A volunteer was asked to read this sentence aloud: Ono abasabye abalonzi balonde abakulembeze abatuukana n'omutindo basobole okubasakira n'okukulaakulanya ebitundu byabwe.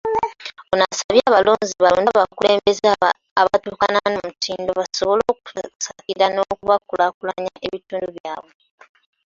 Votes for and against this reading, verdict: 2, 1, accepted